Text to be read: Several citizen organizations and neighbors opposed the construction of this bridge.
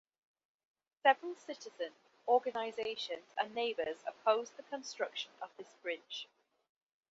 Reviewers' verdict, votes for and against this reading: accepted, 2, 0